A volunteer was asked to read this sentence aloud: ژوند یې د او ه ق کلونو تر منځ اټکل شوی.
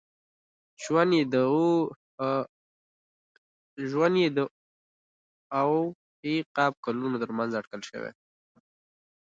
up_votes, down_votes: 0, 2